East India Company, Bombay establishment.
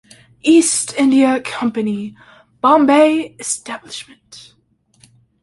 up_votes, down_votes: 2, 0